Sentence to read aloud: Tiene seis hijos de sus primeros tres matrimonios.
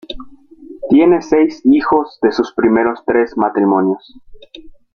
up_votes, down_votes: 2, 0